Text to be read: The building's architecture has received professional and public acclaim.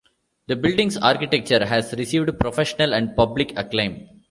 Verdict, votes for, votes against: accepted, 2, 1